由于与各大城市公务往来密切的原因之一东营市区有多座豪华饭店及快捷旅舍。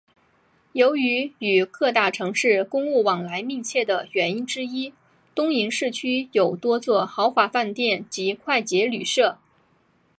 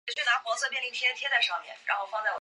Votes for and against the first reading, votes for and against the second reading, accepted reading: 7, 0, 0, 5, first